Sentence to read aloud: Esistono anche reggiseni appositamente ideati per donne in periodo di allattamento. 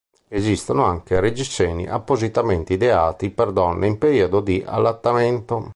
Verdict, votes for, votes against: accepted, 2, 0